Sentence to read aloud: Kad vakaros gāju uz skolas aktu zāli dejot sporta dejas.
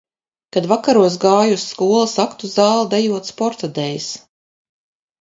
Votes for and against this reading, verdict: 4, 0, accepted